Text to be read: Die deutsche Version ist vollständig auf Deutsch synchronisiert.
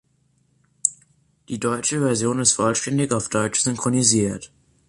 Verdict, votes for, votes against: accepted, 3, 0